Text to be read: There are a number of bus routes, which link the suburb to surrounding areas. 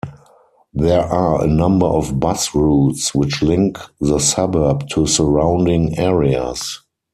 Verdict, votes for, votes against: rejected, 0, 4